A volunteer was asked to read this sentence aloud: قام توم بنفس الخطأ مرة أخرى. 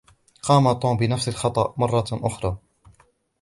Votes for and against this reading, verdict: 2, 0, accepted